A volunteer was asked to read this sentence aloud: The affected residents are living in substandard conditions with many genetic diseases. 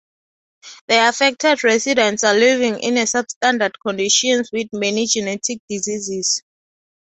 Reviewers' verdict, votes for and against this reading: rejected, 0, 2